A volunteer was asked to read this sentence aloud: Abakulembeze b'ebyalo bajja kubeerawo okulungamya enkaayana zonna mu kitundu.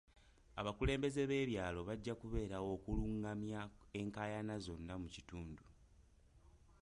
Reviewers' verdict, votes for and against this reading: rejected, 0, 2